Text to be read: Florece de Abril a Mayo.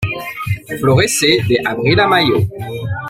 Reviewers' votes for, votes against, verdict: 2, 1, accepted